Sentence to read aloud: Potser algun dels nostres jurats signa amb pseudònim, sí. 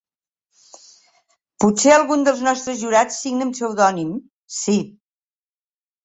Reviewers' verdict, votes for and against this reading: accepted, 5, 0